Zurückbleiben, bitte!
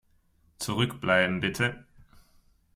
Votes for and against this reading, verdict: 2, 0, accepted